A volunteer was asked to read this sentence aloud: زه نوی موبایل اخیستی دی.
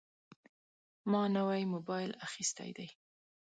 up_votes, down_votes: 2, 3